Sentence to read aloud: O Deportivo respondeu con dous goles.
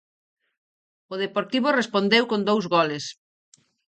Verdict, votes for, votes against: accepted, 4, 0